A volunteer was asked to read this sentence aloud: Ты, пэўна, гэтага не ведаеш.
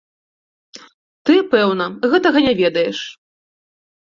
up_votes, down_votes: 2, 0